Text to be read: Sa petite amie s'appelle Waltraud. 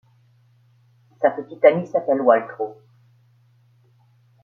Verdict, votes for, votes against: accepted, 2, 0